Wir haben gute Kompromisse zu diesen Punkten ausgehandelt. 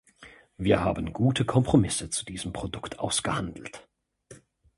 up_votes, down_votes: 0, 2